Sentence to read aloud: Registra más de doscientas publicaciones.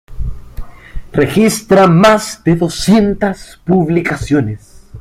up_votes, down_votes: 1, 2